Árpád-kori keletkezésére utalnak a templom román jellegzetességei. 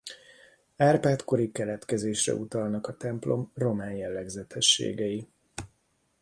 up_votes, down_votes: 1, 2